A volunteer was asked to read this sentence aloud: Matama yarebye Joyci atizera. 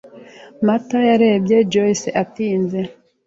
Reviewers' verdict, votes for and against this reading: rejected, 0, 2